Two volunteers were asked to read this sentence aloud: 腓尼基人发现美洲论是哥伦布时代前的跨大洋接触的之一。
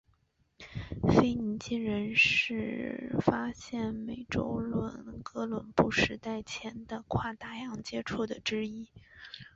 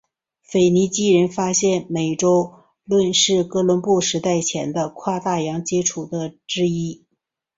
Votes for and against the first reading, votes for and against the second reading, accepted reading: 0, 2, 5, 0, second